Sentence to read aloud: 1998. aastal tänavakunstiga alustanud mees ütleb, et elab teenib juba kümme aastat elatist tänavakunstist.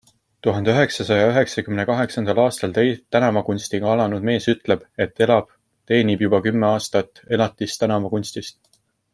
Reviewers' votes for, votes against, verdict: 0, 2, rejected